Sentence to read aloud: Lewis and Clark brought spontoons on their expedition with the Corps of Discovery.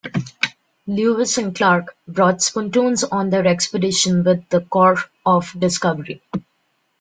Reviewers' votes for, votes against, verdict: 0, 2, rejected